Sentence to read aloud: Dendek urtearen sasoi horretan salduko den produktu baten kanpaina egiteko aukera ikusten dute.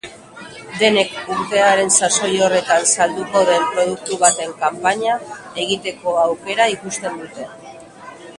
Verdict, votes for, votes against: rejected, 1, 2